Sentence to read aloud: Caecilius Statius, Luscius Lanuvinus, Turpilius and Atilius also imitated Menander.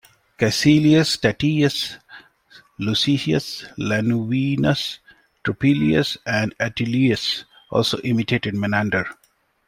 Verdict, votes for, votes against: accepted, 2, 0